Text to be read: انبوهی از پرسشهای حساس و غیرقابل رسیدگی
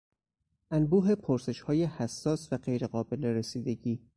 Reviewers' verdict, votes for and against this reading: rejected, 2, 4